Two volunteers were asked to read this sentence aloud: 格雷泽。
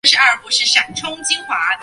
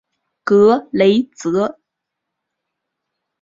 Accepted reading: second